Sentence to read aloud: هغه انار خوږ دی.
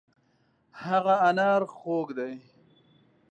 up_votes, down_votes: 2, 0